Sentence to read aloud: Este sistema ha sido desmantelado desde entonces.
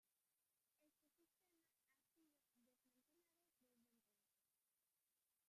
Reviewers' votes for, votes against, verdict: 0, 3, rejected